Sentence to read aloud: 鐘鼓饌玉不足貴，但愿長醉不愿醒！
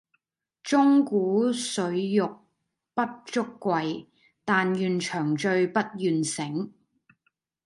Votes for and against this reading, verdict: 0, 2, rejected